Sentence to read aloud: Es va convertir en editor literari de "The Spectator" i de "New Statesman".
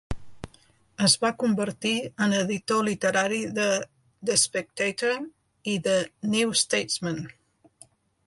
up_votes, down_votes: 2, 0